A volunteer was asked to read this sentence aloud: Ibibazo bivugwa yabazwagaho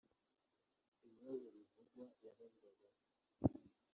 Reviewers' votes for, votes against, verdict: 0, 2, rejected